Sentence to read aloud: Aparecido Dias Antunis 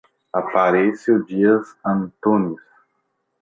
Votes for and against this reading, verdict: 0, 2, rejected